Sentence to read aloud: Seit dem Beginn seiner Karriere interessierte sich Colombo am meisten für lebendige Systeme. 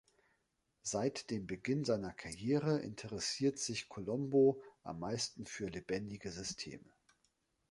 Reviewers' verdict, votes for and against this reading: rejected, 1, 2